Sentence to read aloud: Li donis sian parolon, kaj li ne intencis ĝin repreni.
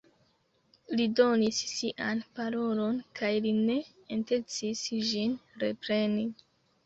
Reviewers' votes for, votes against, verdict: 1, 2, rejected